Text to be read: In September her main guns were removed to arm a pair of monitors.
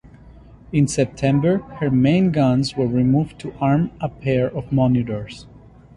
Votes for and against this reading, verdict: 2, 0, accepted